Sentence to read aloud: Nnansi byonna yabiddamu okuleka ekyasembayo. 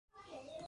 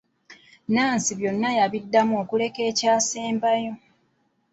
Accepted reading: second